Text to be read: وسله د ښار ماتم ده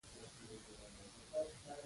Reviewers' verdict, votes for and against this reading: accepted, 2, 1